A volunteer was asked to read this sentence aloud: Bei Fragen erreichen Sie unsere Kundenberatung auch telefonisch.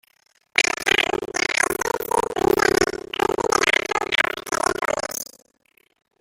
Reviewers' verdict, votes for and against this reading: rejected, 0, 2